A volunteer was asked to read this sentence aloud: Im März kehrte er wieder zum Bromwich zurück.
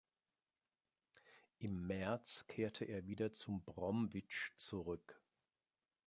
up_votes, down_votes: 0, 2